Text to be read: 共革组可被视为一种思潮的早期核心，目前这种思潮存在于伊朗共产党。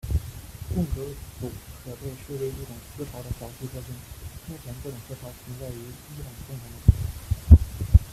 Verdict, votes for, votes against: rejected, 1, 2